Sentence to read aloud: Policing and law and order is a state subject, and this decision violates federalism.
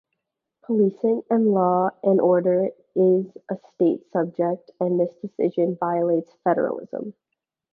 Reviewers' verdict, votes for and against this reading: accepted, 2, 0